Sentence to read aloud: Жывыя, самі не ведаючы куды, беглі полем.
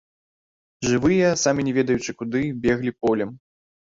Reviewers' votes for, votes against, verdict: 2, 0, accepted